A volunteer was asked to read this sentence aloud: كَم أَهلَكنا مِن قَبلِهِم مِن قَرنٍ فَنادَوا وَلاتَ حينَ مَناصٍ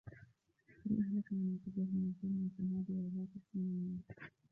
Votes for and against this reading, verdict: 0, 2, rejected